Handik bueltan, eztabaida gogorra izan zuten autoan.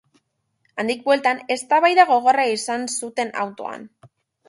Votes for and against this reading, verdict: 3, 0, accepted